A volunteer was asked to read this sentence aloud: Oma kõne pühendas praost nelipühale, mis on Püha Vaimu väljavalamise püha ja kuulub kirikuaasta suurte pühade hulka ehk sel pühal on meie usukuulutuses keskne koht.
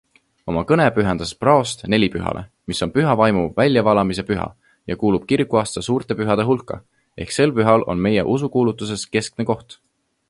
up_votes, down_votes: 2, 0